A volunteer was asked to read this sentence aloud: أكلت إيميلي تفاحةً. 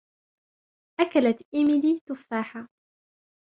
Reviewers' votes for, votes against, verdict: 2, 0, accepted